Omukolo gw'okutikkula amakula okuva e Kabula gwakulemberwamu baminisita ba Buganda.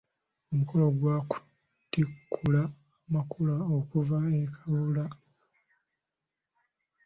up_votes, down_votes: 0, 3